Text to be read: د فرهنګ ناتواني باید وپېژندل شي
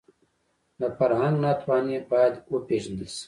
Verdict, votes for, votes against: accepted, 2, 1